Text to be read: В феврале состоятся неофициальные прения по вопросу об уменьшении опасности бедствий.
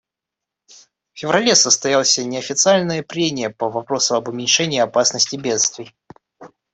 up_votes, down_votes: 1, 2